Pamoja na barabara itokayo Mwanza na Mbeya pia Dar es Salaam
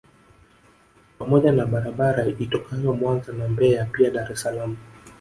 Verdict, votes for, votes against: rejected, 1, 2